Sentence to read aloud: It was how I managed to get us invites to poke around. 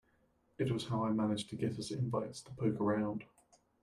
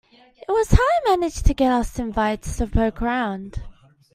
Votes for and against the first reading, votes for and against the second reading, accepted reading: 0, 2, 2, 1, second